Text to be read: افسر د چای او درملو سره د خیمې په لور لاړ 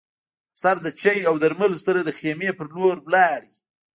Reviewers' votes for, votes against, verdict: 0, 2, rejected